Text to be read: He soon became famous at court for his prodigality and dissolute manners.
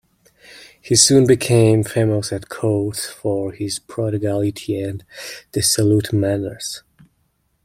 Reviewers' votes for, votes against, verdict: 2, 0, accepted